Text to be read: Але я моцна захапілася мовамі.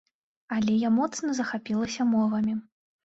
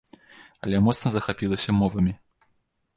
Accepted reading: first